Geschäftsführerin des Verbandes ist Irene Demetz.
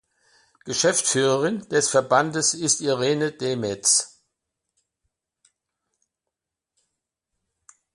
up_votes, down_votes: 2, 0